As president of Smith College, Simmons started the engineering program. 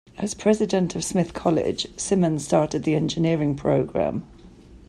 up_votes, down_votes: 2, 0